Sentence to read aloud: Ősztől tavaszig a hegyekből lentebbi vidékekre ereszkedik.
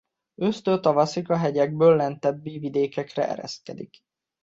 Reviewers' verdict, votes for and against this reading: accepted, 2, 0